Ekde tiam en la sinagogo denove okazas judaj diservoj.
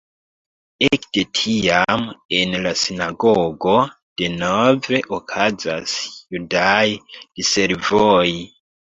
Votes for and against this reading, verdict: 0, 2, rejected